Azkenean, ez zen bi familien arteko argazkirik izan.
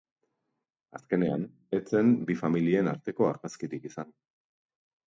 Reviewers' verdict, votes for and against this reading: rejected, 1, 2